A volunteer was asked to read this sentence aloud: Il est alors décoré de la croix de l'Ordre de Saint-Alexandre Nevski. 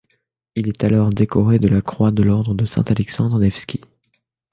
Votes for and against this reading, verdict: 2, 0, accepted